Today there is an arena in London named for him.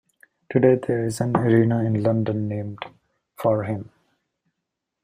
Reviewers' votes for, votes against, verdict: 2, 0, accepted